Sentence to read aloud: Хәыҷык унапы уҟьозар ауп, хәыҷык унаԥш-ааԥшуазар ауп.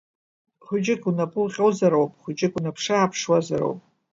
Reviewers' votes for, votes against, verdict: 2, 1, accepted